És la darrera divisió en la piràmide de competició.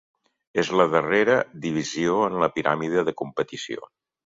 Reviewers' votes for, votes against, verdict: 3, 0, accepted